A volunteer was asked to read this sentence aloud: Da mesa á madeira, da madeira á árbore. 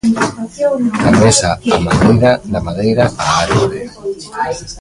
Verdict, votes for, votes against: rejected, 0, 2